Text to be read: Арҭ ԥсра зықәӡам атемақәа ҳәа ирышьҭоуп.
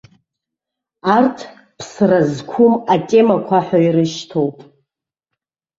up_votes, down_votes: 0, 2